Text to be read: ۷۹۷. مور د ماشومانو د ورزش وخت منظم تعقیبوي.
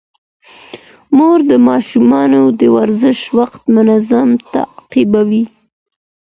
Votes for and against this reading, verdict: 0, 2, rejected